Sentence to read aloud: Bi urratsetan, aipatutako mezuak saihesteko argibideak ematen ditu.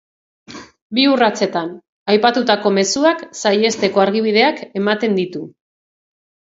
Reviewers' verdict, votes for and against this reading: accepted, 3, 0